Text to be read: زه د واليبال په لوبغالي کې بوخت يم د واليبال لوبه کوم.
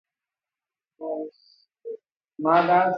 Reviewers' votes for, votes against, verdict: 0, 2, rejected